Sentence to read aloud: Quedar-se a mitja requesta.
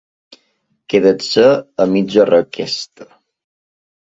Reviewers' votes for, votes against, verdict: 2, 0, accepted